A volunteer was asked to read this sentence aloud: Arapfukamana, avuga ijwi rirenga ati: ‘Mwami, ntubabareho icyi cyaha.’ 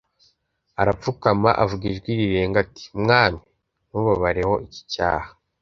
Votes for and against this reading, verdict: 1, 2, rejected